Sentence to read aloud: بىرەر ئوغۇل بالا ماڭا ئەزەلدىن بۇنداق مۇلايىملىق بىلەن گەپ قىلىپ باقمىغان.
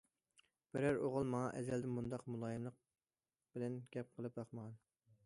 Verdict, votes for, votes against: rejected, 1, 2